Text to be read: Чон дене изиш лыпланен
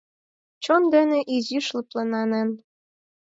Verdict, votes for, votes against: rejected, 0, 4